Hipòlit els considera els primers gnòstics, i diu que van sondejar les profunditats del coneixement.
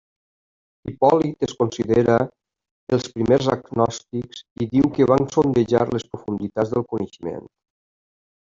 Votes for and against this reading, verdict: 0, 2, rejected